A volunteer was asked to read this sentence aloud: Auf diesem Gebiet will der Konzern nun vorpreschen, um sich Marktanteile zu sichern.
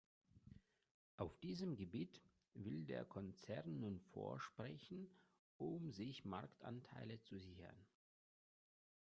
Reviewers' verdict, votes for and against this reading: rejected, 0, 2